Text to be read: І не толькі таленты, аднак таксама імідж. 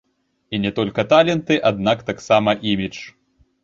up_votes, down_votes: 1, 2